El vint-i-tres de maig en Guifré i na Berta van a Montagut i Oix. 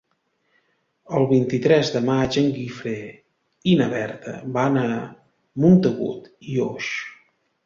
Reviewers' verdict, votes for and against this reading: rejected, 1, 2